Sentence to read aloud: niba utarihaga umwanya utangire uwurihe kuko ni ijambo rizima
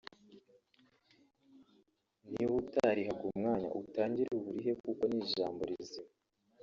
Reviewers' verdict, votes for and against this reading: rejected, 1, 3